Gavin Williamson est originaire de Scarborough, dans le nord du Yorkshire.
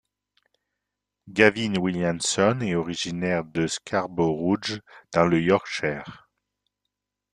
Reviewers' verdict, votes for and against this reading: rejected, 1, 2